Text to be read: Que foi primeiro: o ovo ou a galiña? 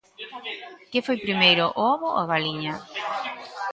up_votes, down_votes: 1, 2